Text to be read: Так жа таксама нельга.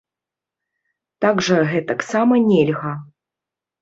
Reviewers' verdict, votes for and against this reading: rejected, 1, 2